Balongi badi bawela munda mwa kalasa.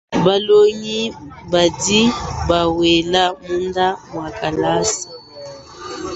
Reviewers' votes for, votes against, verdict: 0, 2, rejected